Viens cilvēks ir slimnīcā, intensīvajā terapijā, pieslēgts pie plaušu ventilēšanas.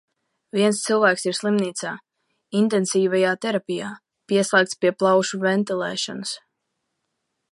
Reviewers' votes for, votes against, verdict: 2, 1, accepted